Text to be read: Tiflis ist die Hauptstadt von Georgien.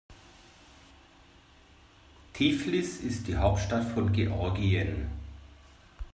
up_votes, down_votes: 2, 0